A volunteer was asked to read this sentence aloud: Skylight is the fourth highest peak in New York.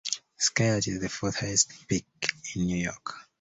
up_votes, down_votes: 2, 0